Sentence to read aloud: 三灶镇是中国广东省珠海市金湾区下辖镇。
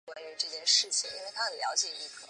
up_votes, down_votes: 1, 2